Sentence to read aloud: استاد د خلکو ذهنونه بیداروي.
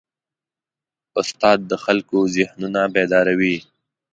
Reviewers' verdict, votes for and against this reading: accepted, 2, 0